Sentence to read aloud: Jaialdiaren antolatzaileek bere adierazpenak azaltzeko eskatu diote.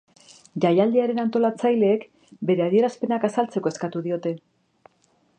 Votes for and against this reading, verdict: 3, 0, accepted